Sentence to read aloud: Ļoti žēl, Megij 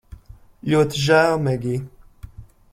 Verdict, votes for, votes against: accepted, 2, 1